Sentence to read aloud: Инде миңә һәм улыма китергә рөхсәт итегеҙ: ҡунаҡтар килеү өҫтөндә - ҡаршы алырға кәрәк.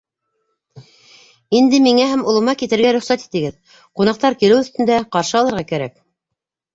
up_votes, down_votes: 2, 0